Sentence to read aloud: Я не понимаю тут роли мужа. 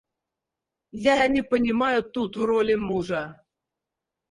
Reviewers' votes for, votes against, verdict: 0, 4, rejected